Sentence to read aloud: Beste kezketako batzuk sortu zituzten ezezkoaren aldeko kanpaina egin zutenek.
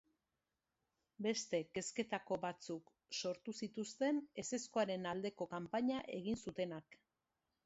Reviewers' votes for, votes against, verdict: 1, 2, rejected